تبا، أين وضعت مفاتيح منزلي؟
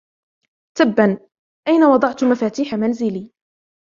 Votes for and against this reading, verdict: 2, 0, accepted